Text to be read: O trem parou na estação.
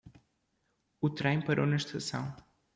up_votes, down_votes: 2, 0